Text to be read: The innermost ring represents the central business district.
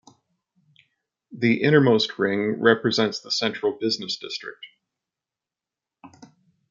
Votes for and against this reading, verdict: 0, 2, rejected